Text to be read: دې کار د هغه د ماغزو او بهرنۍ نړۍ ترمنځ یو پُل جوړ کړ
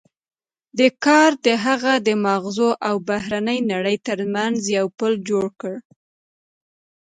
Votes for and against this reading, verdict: 2, 0, accepted